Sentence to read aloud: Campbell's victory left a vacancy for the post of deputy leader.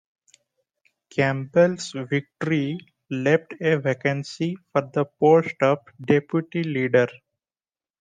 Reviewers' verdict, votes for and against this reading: accepted, 2, 1